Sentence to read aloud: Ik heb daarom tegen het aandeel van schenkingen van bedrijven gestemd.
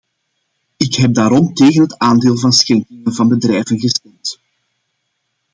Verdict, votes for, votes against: rejected, 0, 2